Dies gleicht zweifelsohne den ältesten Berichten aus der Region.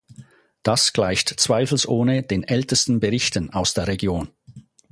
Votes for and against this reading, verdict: 2, 4, rejected